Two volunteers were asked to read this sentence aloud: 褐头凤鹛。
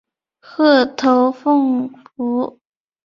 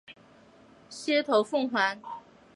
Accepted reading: second